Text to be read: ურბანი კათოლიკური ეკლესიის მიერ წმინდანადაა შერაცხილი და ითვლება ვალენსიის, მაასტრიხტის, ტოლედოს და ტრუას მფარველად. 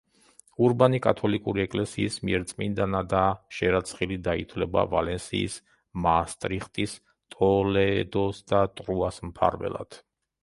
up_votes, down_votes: 0, 2